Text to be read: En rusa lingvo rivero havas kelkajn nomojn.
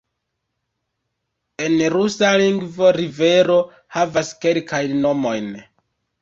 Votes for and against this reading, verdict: 2, 0, accepted